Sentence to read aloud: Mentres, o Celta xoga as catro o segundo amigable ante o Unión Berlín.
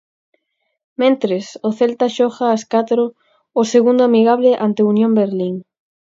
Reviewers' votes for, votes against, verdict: 32, 0, accepted